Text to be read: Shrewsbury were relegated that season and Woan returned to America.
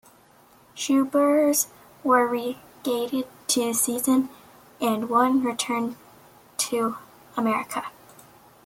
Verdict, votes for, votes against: rejected, 1, 2